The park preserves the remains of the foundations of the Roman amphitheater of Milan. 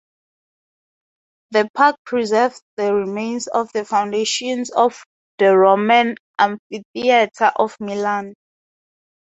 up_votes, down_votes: 2, 0